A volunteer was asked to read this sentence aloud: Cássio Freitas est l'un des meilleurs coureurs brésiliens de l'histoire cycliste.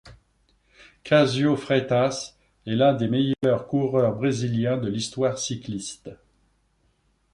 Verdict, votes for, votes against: rejected, 1, 2